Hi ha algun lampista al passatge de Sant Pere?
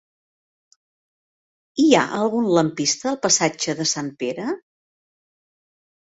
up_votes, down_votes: 3, 0